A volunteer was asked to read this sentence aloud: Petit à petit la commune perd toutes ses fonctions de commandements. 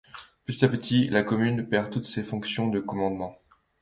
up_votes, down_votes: 2, 0